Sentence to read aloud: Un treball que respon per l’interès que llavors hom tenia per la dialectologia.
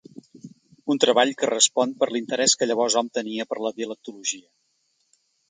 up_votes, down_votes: 2, 0